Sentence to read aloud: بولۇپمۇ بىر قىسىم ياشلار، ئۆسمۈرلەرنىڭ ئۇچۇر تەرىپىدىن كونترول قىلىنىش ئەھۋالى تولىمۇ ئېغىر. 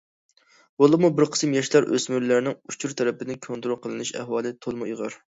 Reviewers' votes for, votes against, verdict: 2, 0, accepted